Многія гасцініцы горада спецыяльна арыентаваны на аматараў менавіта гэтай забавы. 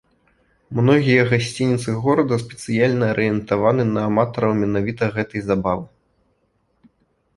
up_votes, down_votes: 2, 0